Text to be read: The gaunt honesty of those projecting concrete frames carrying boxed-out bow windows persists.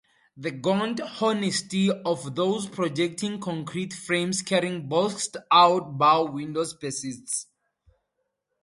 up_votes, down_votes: 2, 0